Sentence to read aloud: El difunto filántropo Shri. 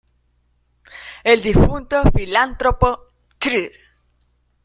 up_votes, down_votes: 1, 2